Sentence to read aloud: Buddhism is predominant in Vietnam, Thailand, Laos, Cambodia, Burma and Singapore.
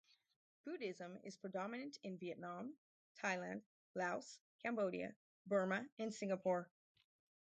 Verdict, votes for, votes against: rejected, 2, 2